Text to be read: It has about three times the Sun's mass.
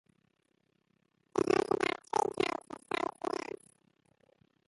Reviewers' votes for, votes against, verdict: 0, 2, rejected